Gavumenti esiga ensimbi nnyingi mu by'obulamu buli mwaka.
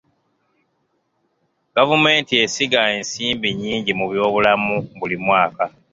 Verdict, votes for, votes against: accepted, 2, 0